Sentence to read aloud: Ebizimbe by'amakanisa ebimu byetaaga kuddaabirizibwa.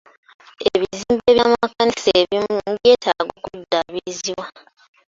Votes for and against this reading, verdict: 1, 2, rejected